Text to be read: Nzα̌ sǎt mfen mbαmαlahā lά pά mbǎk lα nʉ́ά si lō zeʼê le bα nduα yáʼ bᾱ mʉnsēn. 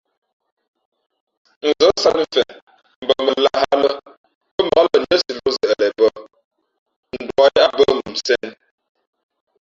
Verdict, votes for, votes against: rejected, 0, 2